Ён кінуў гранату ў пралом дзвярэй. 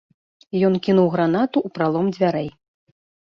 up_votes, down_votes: 2, 0